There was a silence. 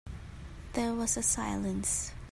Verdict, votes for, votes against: accepted, 2, 0